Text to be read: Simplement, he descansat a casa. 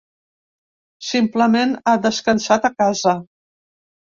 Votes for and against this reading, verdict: 1, 2, rejected